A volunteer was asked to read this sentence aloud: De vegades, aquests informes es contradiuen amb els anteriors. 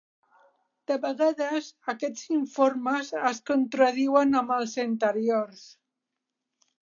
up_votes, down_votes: 3, 0